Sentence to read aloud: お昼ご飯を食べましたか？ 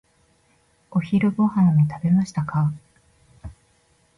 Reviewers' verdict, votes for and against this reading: rejected, 1, 2